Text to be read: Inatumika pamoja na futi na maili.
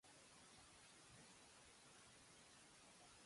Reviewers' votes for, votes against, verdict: 0, 2, rejected